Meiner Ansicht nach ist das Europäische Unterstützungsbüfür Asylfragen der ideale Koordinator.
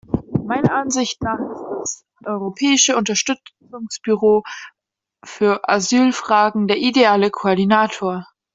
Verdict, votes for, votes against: rejected, 0, 2